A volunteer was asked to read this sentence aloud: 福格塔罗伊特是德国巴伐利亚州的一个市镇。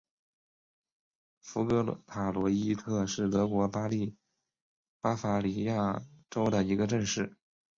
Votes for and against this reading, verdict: 1, 4, rejected